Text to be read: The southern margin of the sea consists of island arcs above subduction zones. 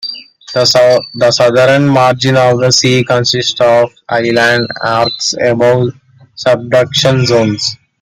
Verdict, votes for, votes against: rejected, 1, 2